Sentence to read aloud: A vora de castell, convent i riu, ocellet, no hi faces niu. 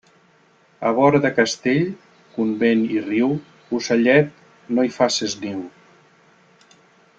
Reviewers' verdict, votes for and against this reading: accepted, 3, 1